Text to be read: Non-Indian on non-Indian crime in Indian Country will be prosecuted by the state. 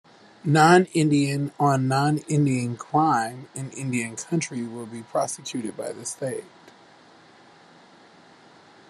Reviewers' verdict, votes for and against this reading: rejected, 1, 2